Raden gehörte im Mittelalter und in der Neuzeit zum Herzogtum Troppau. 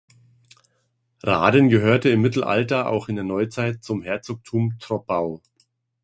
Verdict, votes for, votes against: rejected, 1, 2